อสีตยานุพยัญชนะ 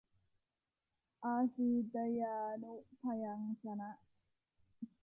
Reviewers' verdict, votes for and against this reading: rejected, 0, 2